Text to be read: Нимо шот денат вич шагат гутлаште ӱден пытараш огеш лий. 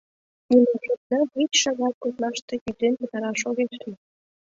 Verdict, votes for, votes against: rejected, 1, 2